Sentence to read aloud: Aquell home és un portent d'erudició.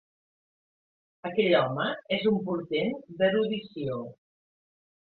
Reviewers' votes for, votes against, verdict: 3, 1, accepted